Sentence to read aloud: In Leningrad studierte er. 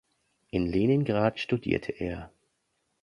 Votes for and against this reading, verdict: 2, 0, accepted